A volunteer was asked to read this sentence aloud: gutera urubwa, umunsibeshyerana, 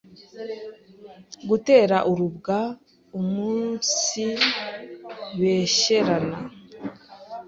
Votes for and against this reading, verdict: 2, 0, accepted